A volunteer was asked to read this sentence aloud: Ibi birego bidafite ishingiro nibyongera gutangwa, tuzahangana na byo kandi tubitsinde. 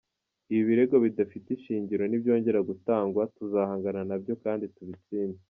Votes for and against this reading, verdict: 4, 0, accepted